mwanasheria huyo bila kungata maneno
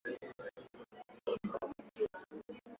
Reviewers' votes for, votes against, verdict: 0, 2, rejected